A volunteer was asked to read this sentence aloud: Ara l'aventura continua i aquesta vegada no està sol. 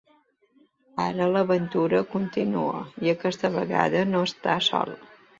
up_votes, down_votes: 2, 0